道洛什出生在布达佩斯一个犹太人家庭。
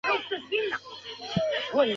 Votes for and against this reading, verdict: 0, 3, rejected